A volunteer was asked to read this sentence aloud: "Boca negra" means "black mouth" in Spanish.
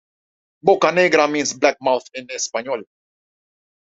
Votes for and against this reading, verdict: 0, 2, rejected